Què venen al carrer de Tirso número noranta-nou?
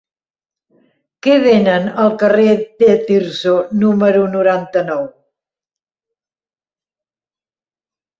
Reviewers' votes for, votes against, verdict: 2, 0, accepted